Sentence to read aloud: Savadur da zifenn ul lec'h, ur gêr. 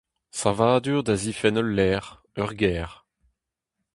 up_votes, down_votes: 2, 0